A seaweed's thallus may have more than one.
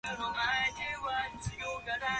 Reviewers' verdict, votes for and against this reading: rejected, 0, 2